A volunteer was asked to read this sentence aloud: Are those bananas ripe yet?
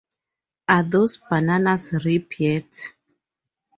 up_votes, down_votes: 0, 2